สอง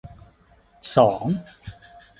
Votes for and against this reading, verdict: 3, 0, accepted